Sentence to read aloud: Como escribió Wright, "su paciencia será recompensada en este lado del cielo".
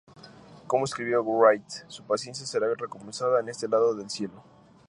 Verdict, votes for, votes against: accepted, 2, 0